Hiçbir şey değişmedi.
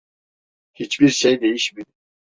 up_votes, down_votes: 1, 2